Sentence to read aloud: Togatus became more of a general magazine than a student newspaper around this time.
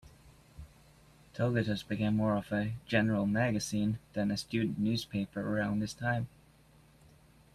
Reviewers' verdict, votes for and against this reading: accepted, 2, 0